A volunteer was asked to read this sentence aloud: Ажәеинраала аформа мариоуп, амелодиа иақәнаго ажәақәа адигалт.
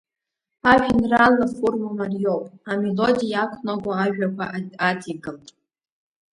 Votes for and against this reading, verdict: 0, 2, rejected